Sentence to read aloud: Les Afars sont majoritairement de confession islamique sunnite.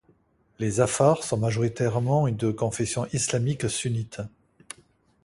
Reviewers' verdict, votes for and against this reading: rejected, 0, 2